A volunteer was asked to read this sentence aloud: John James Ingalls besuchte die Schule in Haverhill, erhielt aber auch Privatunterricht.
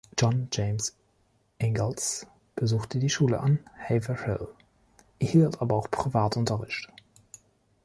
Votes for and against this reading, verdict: 1, 2, rejected